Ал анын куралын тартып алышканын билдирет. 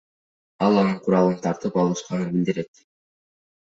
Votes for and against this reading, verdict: 0, 2, rejected